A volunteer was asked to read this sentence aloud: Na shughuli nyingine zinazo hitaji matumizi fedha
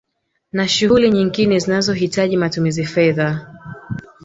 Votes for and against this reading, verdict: 3, 0, accepted